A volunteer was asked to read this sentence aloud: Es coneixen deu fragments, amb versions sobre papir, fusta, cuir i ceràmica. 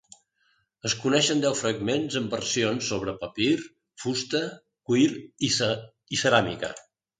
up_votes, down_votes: 0, 2